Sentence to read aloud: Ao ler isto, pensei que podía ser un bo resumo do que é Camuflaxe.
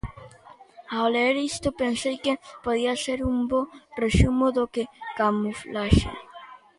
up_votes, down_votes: 0, 2